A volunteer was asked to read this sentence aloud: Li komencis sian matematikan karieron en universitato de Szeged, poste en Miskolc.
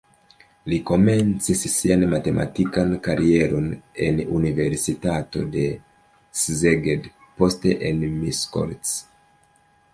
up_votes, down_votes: 2, 0